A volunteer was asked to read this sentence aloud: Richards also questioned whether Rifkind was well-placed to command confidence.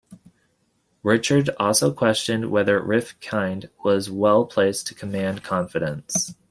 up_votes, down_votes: 2, 0